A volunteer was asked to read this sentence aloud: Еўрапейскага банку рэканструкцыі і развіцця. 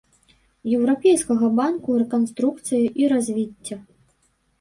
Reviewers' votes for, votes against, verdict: 1, 2, rejected